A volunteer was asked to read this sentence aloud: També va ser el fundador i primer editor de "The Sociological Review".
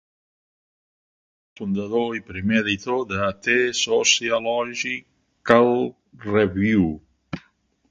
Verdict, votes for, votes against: rejected, 1, 2